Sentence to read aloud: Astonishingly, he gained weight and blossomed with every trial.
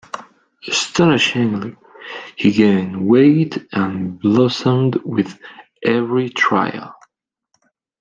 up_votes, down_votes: 2, 0